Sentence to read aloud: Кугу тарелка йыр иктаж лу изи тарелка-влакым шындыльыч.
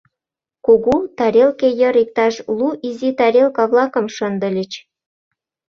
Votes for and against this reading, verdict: 0, 2, rejected